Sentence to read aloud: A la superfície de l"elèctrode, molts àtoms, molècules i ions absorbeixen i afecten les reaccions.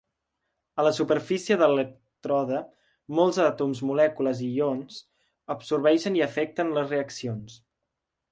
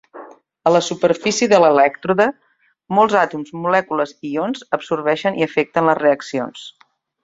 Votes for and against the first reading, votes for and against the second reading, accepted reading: 1, 2, 2, 0, second